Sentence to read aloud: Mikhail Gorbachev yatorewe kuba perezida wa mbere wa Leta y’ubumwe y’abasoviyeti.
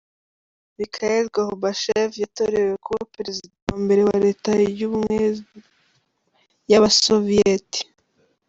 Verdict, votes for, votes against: rejected, 1, 2